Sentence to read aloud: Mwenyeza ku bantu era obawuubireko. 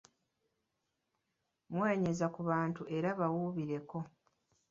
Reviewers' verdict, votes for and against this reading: rejected, 1, 2